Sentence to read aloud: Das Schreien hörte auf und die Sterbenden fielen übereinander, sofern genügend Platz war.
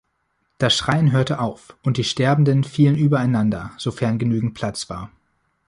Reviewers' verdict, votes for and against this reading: accepted, 2, 0